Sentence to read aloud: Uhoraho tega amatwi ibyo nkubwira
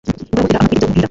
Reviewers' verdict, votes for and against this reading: rejected, 0, 2